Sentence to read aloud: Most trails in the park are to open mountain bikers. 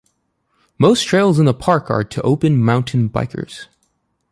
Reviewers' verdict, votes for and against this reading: accepted, 2, 0